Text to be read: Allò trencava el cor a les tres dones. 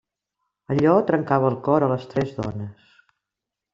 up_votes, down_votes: 3, 0